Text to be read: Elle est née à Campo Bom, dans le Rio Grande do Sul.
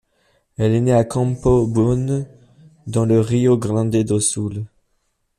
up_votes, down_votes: 2, 0